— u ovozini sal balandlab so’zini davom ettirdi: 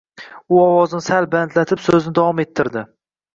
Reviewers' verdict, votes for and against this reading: rejected, 1, 2